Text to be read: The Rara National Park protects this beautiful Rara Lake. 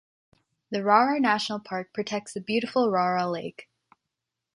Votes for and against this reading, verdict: 2, 1, accepted